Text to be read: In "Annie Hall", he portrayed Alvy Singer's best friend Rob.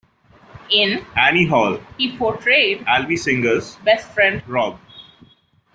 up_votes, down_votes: 2, 0